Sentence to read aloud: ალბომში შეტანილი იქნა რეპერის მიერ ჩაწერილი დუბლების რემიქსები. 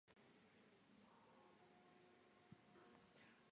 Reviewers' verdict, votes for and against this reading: rejected, 1, 2